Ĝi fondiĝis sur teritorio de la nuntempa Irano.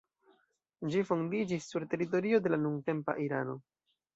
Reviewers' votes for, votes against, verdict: 2, 0, accepted